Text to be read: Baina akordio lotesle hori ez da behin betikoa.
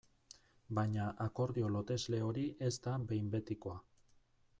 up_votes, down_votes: 0, 2